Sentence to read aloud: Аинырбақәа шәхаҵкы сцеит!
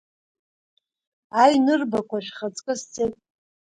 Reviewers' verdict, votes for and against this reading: accepted, 2, 1